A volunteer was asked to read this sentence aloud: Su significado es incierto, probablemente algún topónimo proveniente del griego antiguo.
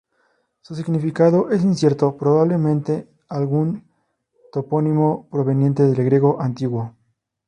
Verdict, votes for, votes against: rejected, 0, 2